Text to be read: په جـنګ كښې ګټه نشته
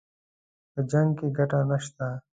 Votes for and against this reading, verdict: 2, 0, accepted